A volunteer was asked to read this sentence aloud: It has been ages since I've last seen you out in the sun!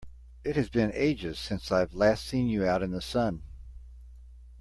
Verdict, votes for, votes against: accepted, 2, 0